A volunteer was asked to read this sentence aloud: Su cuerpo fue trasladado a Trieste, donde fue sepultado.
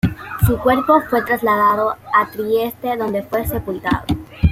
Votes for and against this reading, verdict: 2, 0, accepted